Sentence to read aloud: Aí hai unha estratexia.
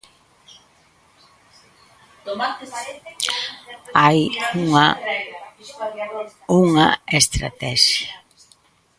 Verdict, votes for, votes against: rejected, 0, 3